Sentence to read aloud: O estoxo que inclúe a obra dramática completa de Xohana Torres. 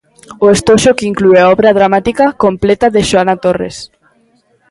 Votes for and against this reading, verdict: 1, 2, rejected